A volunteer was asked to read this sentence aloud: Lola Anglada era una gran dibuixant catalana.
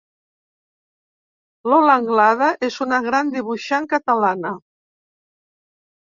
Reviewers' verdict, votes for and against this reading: rejected, 0, 2